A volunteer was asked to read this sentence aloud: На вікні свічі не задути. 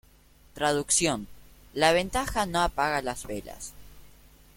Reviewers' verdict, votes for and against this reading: rejected, 0, 2